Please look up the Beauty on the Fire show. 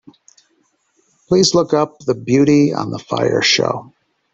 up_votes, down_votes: 3, 0